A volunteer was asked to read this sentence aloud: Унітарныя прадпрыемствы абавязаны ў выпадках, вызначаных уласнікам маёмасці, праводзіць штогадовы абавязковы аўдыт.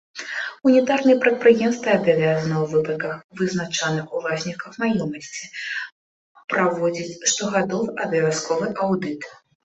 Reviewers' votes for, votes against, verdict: 2, 0, accepted